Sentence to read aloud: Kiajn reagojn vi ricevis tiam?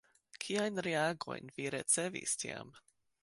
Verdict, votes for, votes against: accepted, 2, 1